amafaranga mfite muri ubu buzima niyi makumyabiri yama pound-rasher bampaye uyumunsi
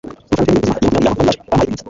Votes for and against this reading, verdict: 0, 2, rejected